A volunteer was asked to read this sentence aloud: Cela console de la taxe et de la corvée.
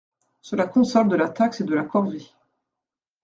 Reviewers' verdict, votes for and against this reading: accepted, 2, 0